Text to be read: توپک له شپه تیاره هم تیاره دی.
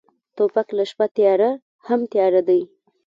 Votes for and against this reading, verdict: 2, 1, accepted